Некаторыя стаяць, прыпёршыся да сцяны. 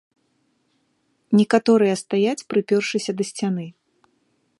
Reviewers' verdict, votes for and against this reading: accepted, 3, 0